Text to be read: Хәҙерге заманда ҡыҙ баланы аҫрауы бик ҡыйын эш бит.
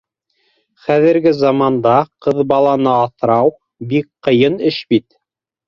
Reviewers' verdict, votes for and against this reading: rejected, 1, 2